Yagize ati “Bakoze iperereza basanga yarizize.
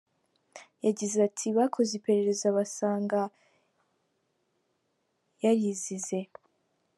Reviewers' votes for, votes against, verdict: 3, 0, accepted